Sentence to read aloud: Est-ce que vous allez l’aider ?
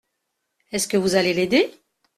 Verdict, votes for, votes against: accepted, 2, 0